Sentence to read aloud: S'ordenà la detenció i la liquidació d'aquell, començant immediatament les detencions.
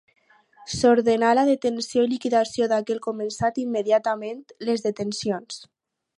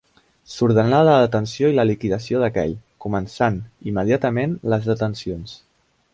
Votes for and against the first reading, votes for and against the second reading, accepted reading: 0, 2, 2, 0, second